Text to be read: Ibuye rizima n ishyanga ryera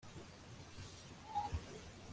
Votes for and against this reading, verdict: 0, 2, rejected